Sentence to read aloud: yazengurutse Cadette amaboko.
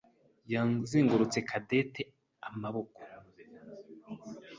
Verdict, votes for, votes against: accepted, 2, 0